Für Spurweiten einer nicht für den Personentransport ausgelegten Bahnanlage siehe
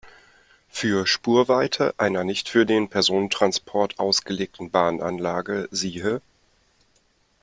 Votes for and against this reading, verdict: 0, 2, rejected